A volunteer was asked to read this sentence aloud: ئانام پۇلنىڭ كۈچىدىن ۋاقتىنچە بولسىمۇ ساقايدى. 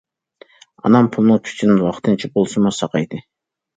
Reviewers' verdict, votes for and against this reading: accepted, 2, 1